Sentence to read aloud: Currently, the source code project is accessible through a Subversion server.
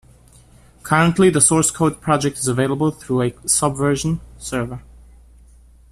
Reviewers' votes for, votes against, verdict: 0, 2, rejected